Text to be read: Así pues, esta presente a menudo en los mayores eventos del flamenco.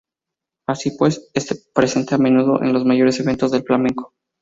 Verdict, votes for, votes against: rejected, 0, 2